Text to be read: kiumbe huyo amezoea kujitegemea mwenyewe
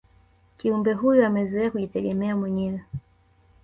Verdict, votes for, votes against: accepted, 2, 0